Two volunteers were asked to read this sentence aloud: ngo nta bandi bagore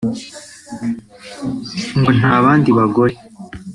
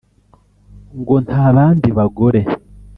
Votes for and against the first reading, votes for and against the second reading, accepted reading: 2, 0, 0, 2, first